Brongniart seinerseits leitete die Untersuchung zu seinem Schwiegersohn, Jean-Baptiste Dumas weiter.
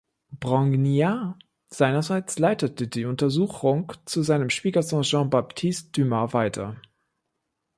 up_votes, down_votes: 1, 2